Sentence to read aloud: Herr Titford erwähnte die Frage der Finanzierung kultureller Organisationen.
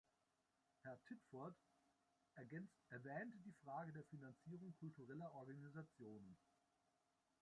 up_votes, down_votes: 0, 2